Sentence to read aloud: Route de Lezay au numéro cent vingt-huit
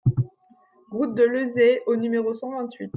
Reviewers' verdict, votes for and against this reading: accepted, 2, 0